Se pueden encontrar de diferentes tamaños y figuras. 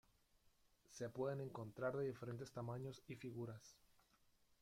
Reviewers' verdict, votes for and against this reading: rejected, 0, 2